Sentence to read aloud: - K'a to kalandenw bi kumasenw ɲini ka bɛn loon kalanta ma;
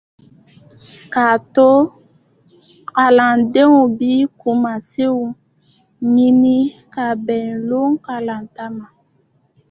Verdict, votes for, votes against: accepted, 2, 0